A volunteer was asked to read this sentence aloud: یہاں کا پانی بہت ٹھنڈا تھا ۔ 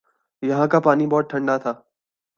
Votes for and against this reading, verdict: 3, 0, accepted